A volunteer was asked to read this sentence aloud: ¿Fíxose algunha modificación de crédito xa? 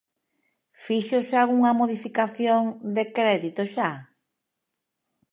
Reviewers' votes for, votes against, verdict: 2, 0, accepted